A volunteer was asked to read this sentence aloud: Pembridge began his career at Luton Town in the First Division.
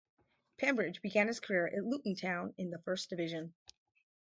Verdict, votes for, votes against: accepted, 4, 2